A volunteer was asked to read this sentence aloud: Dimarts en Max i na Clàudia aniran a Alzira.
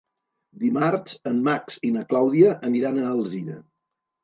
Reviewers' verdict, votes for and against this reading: rejected, 1, 2